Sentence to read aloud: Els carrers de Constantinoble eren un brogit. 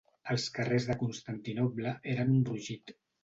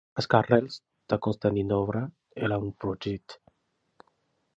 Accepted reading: first